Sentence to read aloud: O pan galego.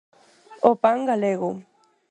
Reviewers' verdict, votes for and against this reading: accepted, 4, 0